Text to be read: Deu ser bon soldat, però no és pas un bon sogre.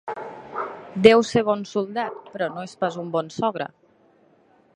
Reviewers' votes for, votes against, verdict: 0, 2, rejected